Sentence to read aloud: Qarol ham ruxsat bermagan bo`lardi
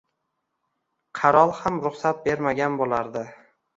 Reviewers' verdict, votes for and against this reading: accepted, 2, 0